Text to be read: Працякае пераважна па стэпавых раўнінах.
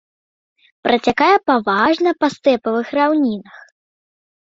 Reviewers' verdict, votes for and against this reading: rejected, 0, 2